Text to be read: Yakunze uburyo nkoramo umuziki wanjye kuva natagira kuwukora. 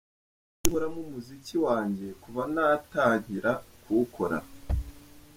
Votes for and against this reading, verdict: 0, 2, rejected